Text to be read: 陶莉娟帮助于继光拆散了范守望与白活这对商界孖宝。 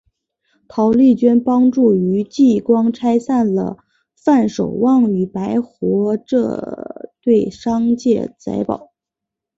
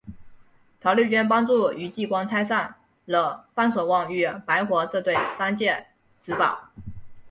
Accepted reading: second